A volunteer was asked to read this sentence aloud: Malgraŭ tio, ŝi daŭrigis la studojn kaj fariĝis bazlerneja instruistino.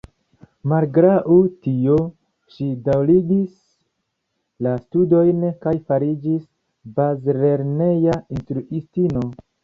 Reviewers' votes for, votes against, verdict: 2, 0, accepted